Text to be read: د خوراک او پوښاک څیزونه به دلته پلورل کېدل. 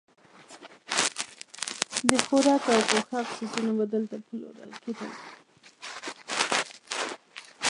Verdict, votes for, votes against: rejected, 0, 2